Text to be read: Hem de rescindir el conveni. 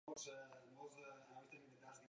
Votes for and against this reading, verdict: 0, 2, rejected